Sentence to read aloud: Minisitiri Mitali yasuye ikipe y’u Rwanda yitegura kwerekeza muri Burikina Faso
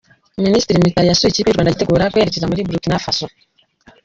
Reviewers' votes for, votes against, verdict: 1, 2, rejected